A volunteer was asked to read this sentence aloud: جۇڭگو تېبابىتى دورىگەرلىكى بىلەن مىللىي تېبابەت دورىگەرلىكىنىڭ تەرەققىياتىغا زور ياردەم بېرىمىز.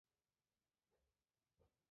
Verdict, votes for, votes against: rejected, 0, 2